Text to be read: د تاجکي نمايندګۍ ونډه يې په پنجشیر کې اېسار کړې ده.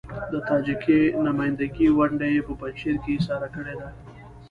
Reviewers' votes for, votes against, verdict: 0, 2, rejected